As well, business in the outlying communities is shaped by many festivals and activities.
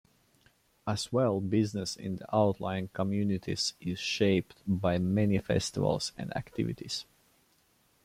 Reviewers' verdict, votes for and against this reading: accepted, 2, 0